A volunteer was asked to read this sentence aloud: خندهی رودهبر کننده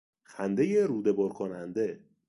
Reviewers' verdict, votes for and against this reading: accepted, 2, 0